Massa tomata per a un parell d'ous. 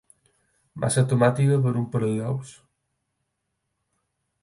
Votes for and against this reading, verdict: 4, 2, accepted